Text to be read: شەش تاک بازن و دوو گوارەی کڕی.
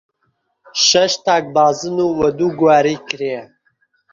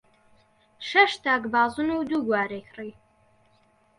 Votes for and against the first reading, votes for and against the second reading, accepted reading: 0, 2, 2, 0, second